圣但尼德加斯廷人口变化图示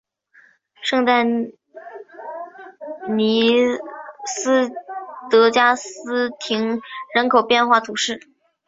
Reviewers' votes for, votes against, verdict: 0, 3, rejected